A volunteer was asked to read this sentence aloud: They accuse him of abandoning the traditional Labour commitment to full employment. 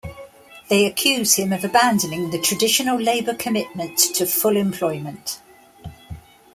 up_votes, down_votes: 2, 0